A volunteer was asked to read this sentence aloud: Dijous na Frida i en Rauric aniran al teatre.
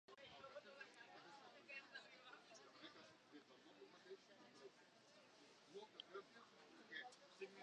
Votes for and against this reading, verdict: 0, 2, rejected